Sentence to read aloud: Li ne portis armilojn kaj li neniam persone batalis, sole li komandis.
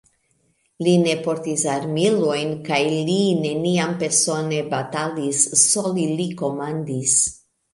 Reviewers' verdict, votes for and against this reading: accepted, 3, 1